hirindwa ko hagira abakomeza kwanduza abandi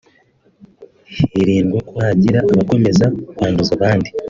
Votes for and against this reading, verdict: 3, 0, accepted